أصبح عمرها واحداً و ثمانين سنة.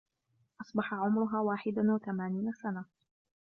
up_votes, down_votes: 1, 2